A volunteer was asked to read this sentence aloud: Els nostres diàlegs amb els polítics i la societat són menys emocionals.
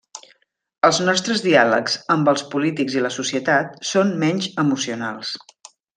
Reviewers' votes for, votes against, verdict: 3, 0, accepted